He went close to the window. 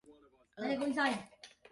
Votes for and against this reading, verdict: 0, 2, rejected